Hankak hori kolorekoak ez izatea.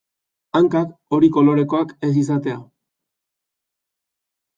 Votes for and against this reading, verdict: 2, 0, accepted